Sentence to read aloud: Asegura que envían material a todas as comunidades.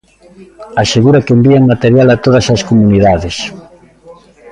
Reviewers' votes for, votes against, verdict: 1, 2, rejected